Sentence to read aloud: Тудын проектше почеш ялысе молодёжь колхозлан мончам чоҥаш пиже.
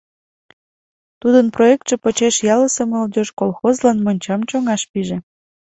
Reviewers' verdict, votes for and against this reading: accepted, 2, 0